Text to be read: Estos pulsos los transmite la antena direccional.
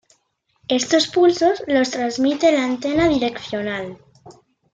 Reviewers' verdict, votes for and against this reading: accepted, 2, 0